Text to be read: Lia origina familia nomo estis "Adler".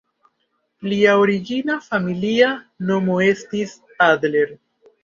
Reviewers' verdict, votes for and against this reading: accepted, 2, 0